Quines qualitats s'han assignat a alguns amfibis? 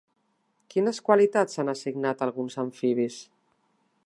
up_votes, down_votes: 2, 0